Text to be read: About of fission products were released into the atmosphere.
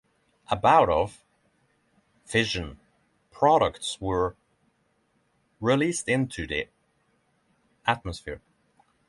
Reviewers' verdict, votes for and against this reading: rejected, 0, 6